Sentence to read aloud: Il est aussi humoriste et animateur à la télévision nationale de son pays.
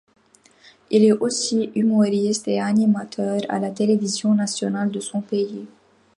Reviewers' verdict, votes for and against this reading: accepted, 2, 0